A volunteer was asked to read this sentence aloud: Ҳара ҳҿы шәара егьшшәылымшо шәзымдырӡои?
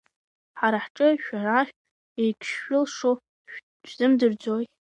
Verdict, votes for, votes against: rejected, 0, 2